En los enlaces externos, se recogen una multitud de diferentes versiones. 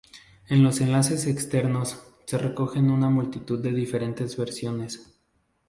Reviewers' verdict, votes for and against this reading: accepted, 2, 0